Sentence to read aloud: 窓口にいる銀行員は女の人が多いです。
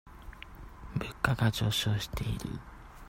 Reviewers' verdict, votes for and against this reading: rejected, 0, 2